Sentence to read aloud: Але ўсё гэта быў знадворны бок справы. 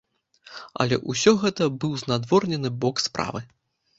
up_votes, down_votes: 0, 2